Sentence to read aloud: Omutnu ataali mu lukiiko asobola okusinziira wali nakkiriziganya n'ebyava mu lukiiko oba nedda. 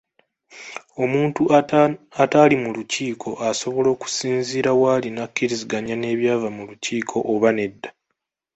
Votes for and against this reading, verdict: 0, 2, rejected